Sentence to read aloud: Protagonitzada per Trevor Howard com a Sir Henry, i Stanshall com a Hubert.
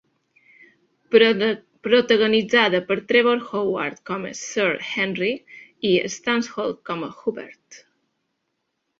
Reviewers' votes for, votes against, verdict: 0, 3, rejected